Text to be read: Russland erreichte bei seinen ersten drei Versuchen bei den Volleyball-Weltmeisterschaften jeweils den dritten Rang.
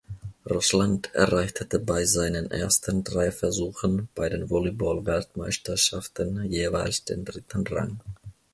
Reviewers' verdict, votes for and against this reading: rejected, 1, 2